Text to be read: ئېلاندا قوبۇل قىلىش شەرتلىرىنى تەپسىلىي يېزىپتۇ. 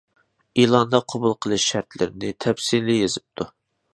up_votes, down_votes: 2, 0